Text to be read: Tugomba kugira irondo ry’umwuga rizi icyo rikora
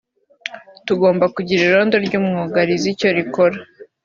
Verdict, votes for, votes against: accepted, 2, 0